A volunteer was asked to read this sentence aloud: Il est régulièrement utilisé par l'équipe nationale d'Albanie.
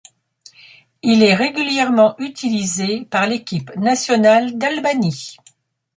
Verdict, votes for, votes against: accepted, 2, 0